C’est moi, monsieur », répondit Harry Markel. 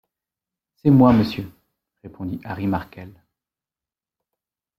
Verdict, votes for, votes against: accepted, 2, 0